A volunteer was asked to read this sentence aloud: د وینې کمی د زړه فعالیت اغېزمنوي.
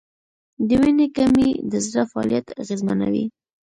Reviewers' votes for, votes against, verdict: 2, 1, accepted